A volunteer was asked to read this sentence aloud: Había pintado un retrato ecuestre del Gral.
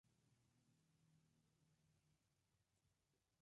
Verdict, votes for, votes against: rejected, 0, 2